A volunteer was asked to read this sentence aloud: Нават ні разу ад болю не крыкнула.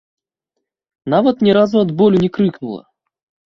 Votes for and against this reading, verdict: 1, 2, rejected